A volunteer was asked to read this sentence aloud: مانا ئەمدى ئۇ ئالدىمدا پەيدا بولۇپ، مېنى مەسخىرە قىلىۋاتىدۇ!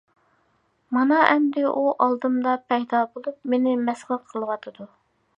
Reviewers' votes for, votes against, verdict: 2, 0, accepted